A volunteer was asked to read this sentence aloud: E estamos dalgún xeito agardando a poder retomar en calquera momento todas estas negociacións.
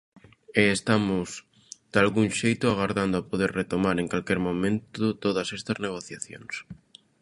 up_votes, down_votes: 0, 2